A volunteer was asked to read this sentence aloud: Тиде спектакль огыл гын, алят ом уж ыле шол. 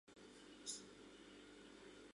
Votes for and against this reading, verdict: 1, 2, rejected